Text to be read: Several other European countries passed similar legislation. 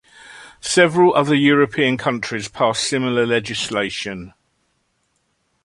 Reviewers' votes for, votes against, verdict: 2, 0, accepted